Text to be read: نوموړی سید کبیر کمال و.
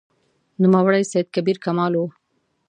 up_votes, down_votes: 2, 0